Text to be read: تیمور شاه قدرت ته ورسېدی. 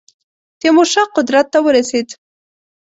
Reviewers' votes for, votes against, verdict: 1, 2, rejected